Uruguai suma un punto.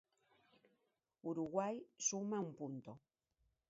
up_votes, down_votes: 1, 2